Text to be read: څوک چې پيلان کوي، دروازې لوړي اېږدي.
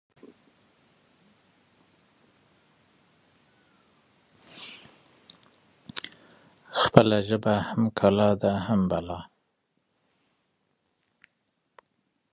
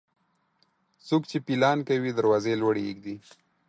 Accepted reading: second